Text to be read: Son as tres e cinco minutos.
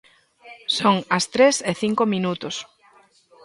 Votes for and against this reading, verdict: 2, 0, accepted